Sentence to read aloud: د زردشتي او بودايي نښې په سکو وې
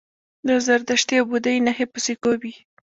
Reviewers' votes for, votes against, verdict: 0, 2, rejected